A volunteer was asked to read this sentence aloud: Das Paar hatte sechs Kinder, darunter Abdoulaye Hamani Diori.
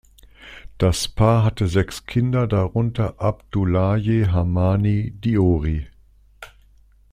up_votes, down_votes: 2, 0